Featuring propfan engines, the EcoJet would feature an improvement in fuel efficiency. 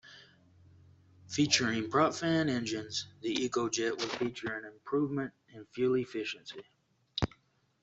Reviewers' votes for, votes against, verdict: 2, 0, accepted